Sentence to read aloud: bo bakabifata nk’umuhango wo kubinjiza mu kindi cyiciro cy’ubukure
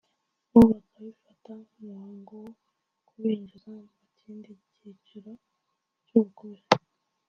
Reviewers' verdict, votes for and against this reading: rejected, 0, 2